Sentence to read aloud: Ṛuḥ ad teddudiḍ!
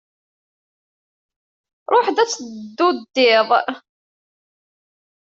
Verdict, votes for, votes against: rejected, 1, 2